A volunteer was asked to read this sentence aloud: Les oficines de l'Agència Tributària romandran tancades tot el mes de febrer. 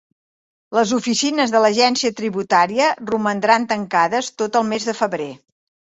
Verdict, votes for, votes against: accepted, 3, 0